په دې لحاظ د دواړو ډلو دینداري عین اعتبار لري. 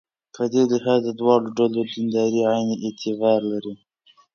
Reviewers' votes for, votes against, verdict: 2, 0, accepted